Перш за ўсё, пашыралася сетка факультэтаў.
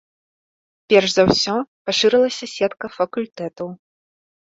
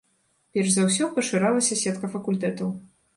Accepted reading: second